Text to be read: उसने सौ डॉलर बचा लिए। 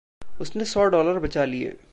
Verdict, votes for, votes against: accepted, 2, 1